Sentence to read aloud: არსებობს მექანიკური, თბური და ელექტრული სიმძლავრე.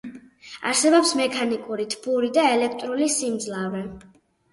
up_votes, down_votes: 2, 2